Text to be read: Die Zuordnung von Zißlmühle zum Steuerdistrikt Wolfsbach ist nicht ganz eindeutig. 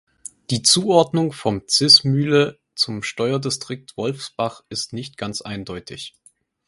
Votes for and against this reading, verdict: 0, 4, rejected